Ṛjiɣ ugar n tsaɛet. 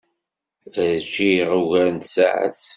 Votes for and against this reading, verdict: 2, 0, accepted